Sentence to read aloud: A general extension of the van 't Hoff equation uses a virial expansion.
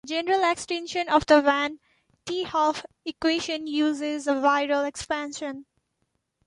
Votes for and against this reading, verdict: 0, 2, rejected